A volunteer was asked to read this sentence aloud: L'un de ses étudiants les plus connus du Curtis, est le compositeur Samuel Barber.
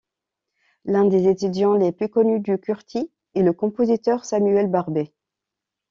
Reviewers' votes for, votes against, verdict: 1, 2, rejected